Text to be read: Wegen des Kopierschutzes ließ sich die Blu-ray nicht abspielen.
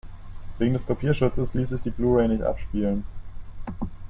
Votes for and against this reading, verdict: 4, 0, accepted